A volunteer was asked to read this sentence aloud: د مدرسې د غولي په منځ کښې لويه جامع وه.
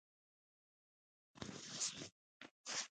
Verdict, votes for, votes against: rejected, 1, 2